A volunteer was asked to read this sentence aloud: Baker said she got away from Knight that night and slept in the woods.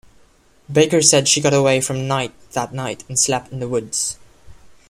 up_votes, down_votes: 2, 1